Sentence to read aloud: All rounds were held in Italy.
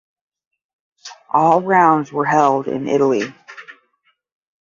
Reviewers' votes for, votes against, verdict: 10, 0, accepted